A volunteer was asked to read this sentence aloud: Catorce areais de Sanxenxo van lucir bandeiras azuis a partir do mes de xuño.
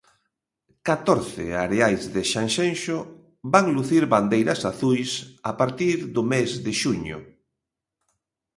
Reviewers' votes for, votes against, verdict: 2, 0, accepted